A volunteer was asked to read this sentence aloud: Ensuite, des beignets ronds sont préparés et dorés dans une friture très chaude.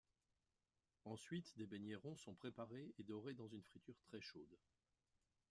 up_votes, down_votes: 2, 0